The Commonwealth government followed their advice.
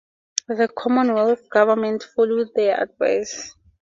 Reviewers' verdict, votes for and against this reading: accepted, 2, 0